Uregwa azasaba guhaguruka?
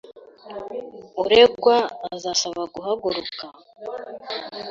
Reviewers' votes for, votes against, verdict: 2, 0, accepted